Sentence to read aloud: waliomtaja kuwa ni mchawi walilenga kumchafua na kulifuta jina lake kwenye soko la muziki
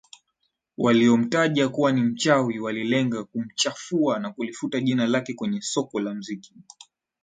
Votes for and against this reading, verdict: 2, 1, accepted